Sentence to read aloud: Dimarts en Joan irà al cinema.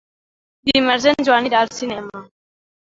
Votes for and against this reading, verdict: 0, 2, rejected